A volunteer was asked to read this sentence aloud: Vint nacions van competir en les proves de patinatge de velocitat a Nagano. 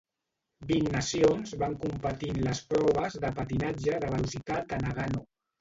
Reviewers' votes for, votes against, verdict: 0, 2, rejected